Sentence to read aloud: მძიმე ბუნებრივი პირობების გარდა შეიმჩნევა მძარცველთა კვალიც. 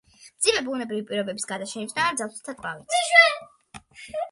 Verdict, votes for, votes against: accepted, 2, 1